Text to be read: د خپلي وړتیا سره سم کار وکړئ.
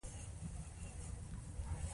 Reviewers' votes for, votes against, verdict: 1, 2, rejected